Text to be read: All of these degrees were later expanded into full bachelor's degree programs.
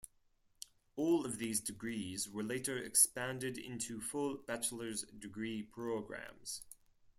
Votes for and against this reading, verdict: 4, 0, accepted